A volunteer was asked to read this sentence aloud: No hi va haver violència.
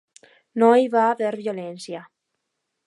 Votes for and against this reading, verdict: 2, 0, accepted